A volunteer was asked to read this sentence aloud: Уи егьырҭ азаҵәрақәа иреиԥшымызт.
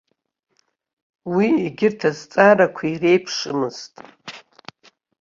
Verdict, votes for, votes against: rejected, 0, 2